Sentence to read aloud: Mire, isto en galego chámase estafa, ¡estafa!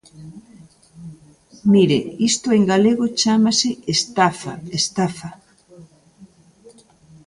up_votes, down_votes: 2, 0